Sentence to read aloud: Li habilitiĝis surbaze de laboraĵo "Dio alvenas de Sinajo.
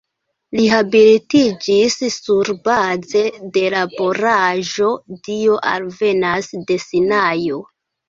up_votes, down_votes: 2, 1